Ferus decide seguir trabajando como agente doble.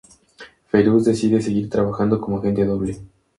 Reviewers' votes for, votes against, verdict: 4, 0, accepted